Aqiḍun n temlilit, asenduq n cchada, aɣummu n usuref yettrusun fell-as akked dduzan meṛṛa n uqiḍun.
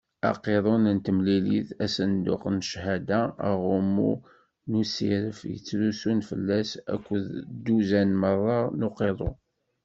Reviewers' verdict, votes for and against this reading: rejected, 1, 2